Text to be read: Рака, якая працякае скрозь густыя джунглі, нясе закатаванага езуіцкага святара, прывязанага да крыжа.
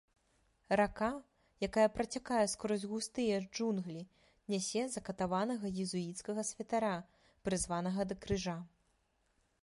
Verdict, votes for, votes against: rejected, 0, 2